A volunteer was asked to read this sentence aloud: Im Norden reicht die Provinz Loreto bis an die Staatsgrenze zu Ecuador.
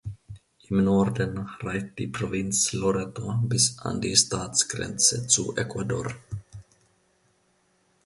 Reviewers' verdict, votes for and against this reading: rejected, 1, 2